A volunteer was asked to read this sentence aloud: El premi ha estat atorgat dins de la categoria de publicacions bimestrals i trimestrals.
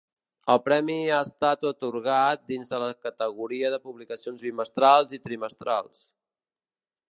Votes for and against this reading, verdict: 1, 2, rejected